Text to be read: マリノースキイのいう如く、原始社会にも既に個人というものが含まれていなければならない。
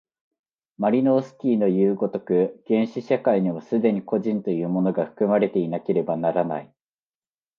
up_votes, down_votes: 2, 0